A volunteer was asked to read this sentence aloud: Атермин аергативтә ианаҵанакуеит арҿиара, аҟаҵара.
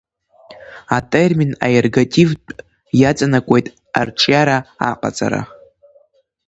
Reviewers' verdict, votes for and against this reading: accepted, 2, 0